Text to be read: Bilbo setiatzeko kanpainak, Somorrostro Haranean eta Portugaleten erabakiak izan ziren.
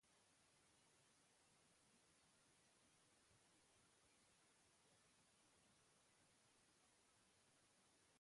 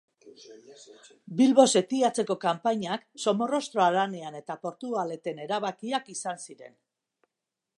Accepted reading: second